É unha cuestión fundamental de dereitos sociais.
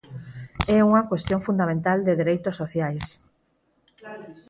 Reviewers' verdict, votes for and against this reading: accepted, 4, 2